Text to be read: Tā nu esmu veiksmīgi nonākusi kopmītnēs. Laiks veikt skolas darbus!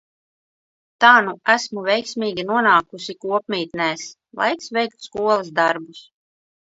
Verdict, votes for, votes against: accepted, 2, 0